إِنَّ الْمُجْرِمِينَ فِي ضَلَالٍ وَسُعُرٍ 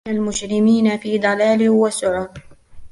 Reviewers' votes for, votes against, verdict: 2, 3, rejected